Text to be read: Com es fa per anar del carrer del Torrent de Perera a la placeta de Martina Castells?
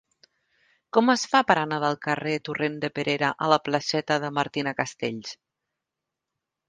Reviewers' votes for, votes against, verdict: 0, 2, rejected